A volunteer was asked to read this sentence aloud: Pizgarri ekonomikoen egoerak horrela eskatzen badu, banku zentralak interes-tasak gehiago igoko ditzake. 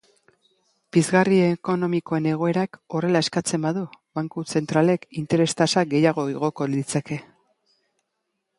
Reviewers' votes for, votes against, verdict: 0, 3, rejected